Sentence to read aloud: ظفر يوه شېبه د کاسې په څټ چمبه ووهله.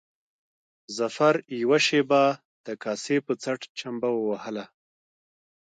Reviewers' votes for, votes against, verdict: 1, 2, rejected